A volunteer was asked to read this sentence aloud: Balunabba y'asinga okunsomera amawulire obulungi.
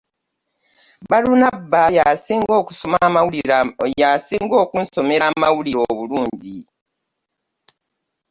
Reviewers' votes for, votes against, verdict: 1, 2, rejected